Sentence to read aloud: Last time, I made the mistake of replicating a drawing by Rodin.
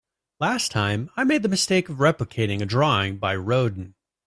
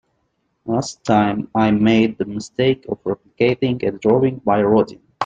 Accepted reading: first